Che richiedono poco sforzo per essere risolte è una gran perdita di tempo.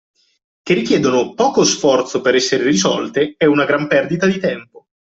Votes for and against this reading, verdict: 2, 0, accepted